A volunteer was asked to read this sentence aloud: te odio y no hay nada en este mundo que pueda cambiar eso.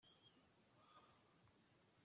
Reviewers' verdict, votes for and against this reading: rejected, 0, 2